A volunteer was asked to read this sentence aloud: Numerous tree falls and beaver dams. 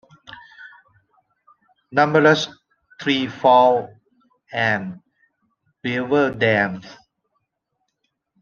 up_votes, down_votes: 0, 2